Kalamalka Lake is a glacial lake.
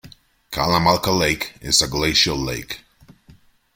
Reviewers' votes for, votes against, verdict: 2, 0, accepted